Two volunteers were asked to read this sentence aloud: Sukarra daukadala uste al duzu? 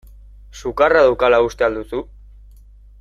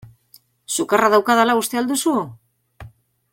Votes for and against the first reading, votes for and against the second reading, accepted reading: 0, 2, 2, 0, second